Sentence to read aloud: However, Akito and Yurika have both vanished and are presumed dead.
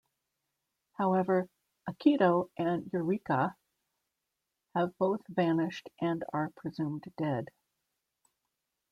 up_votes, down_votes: 2, 0